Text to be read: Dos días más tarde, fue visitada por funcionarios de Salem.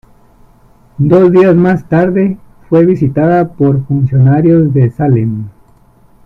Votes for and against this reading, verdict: 1, 2, rejected